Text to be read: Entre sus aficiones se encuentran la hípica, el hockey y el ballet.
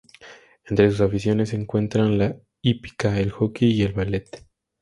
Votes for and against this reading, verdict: 2, 0, accepted